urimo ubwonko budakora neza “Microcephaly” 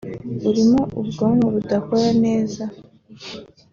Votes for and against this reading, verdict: 0, 2, rejected